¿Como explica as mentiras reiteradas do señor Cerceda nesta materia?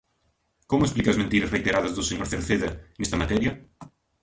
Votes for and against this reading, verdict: 1, 2, rejected